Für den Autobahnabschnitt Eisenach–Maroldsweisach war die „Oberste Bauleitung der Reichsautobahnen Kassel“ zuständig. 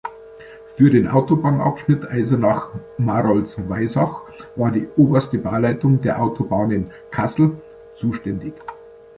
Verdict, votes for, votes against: rejected, 0, 2